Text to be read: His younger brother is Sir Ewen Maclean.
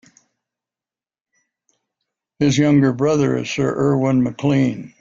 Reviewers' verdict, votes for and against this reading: accepted, 2, 1